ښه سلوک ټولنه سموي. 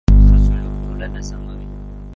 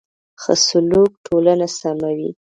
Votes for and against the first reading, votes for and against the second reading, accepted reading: 1, 2, 2, 0, second